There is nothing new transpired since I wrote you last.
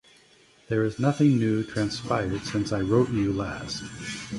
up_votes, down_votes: 2, 1